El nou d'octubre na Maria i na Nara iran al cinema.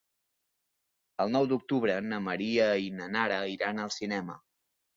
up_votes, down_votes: 3, 0